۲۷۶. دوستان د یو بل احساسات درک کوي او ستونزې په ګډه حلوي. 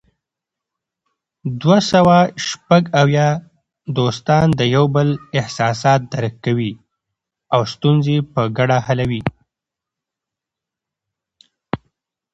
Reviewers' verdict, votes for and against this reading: rejected, 0, 2